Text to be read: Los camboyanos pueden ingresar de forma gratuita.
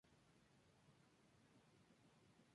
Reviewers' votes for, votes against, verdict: 0, 2, rejected